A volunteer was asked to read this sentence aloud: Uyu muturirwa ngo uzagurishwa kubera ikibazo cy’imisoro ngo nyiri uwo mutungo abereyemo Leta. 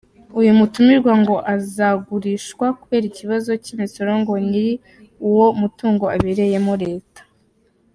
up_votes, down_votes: 1, 2